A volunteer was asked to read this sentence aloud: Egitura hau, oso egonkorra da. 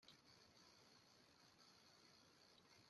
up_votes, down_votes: 0, 2